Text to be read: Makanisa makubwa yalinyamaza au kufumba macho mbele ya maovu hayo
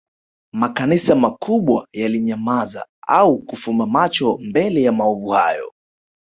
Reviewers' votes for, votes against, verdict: 5, 0, accepted